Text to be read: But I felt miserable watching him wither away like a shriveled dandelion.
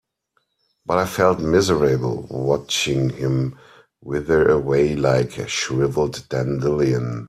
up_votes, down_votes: 2, 1